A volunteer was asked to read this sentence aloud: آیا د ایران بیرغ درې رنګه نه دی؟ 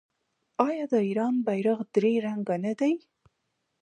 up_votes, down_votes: 2, 0